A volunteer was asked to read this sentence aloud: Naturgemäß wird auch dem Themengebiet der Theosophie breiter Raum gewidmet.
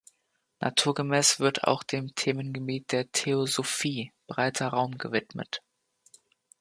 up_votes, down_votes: 2, 0